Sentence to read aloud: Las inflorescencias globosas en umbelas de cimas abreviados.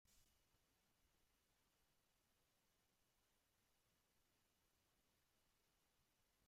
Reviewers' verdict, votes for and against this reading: rejected, 0, 2